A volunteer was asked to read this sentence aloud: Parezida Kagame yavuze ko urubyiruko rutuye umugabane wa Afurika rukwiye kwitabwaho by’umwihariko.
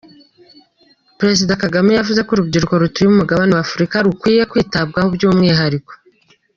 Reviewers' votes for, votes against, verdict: 2, 0, accepted